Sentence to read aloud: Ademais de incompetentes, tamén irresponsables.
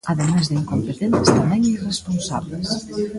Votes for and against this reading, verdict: 0, 2, rejected